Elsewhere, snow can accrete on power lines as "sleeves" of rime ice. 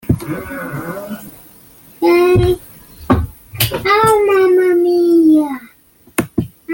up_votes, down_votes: 0, 2